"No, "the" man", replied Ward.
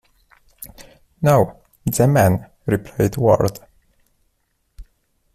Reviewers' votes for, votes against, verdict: 2, 0, accepted